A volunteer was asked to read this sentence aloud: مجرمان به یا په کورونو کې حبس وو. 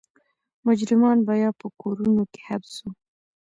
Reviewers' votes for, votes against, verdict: 0, 2, rejected